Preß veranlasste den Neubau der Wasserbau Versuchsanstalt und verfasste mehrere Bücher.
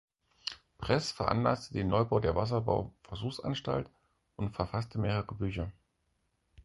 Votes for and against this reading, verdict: 0, 4, rejected